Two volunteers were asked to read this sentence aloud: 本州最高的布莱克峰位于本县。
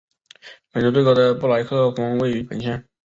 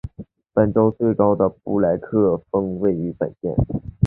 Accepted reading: second